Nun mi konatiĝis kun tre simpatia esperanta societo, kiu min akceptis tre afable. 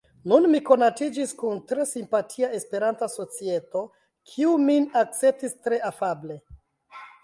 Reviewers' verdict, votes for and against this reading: rejected, 0, 2